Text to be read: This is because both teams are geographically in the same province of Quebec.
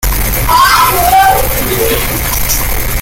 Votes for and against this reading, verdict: 0, 2, rejected